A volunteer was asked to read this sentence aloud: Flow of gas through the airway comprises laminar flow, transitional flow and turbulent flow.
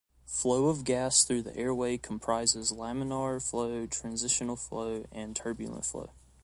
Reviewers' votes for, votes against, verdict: 2, 0, accepted